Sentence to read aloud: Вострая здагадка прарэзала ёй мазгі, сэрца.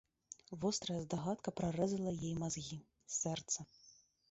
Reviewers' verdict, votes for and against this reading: rejected, 0, 2